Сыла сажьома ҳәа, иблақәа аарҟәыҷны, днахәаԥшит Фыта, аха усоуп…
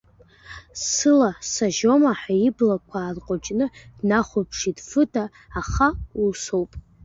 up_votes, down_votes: 2, 0